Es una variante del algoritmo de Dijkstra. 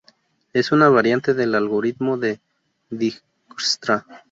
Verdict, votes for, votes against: rejected, 0, 2